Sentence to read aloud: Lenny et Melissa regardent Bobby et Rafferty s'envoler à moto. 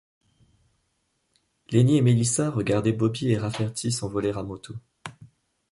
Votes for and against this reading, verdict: 1, 2, rejected